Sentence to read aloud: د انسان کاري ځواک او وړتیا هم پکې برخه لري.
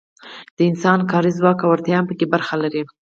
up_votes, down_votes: 4, 0